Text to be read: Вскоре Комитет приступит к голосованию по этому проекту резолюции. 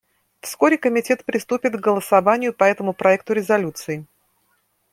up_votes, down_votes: 2, 0